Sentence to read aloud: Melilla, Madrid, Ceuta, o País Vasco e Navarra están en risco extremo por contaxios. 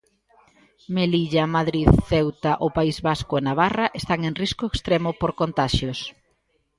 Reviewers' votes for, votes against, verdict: 0, 2, rejected